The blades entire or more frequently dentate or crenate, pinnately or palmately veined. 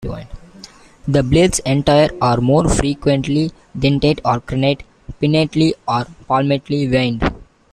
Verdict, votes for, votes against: accepted, 2, 1